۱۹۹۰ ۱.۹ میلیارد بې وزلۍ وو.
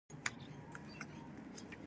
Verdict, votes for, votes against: rejected, 0, 2